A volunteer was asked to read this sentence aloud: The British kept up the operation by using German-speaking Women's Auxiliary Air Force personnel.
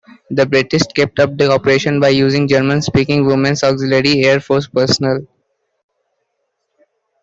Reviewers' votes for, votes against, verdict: 2, 1, accepted